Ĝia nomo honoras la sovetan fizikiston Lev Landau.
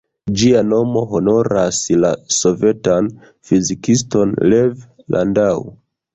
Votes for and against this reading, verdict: 1, 2, rejected